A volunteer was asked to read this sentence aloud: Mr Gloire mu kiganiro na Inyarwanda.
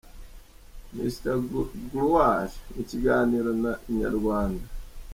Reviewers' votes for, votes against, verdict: 1, 2, rejected